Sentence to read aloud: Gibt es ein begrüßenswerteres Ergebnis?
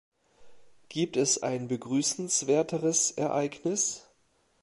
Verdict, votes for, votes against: rejected, 0, 2